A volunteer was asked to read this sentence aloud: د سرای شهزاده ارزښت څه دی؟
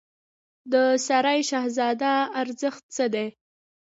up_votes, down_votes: 1, 2